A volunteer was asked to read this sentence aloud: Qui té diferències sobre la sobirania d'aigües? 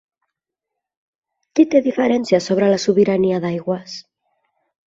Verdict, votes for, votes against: accepted, 2, 0